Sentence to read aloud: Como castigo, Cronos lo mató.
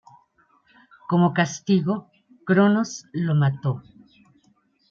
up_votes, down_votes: 2, 0